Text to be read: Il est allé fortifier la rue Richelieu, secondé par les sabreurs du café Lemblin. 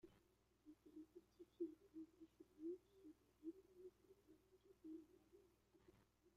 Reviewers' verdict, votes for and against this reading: rejected, 0, 2